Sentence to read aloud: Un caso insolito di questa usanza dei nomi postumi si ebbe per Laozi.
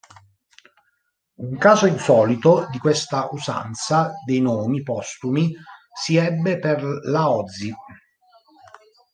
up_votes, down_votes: 1, 2